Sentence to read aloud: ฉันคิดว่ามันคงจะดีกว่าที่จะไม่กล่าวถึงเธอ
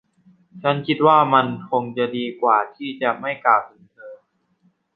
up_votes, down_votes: 0, 2